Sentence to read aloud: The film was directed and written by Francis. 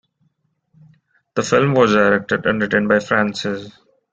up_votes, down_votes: 2, 1